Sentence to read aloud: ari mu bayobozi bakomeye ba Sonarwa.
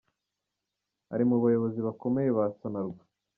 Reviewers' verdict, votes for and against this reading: accepted, 2, 0